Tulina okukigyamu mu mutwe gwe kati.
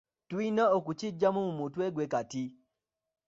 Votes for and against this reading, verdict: 2, 1, accepted